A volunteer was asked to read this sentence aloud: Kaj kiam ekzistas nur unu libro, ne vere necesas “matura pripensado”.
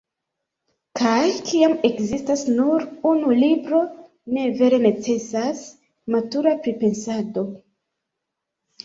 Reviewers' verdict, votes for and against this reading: rejected, 0, 2